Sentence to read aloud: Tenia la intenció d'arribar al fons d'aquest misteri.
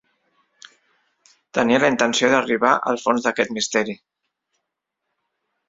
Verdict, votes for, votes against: accepted, 3, 1